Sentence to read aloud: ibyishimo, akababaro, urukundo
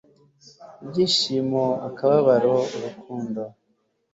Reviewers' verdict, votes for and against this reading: accepted, 2, 0